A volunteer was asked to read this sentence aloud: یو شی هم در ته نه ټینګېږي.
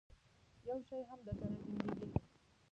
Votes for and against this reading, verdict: 0, 2, rejected